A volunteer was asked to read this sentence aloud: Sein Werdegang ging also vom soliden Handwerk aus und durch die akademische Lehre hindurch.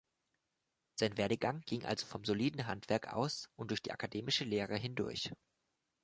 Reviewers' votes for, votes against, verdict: 3, 0, accepted